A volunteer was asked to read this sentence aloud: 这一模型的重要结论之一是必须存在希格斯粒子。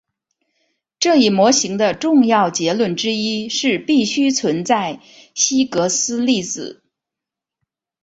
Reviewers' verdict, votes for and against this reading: accepted, 2, 0